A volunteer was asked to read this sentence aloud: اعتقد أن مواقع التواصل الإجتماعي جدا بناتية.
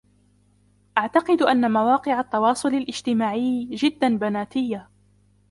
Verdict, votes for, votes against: rejected, 0, 2